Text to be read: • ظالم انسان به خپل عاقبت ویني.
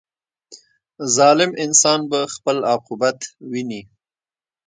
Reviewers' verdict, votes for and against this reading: rejected, 1, 2